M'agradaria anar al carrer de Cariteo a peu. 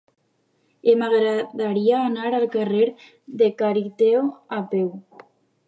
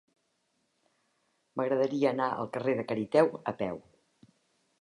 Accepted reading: second